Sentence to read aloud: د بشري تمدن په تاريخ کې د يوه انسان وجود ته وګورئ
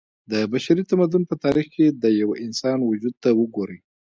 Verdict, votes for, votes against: accepted, 2, 0